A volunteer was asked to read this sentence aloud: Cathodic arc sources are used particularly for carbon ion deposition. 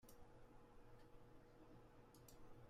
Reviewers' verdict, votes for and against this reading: rejected, 0, 2